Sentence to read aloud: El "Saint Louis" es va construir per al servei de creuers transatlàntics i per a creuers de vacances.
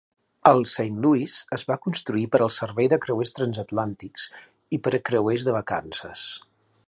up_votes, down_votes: 2, 0